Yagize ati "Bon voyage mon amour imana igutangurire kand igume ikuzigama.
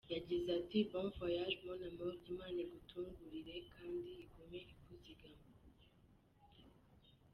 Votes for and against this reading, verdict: 2, 1, accepted